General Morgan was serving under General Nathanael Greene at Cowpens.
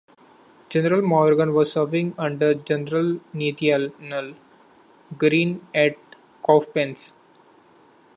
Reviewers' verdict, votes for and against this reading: rejected, 0, 3